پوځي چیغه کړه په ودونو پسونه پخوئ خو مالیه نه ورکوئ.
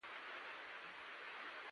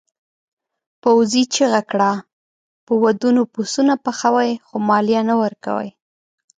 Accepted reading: second